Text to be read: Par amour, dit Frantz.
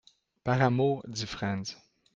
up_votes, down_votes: 2, 1